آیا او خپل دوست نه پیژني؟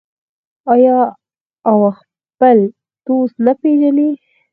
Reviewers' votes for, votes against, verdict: 2, 4, rejected